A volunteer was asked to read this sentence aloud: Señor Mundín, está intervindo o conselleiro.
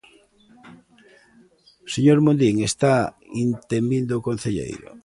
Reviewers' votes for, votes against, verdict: 0, 2, rejected